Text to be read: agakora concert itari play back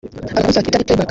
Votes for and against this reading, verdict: 0, 2, rejected